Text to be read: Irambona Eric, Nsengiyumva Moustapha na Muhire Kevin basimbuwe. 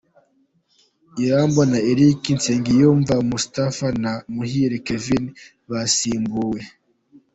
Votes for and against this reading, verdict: 2, 0, accepted